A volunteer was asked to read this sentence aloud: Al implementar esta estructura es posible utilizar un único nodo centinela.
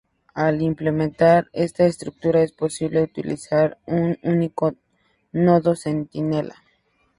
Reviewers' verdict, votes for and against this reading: accepted, 2, 0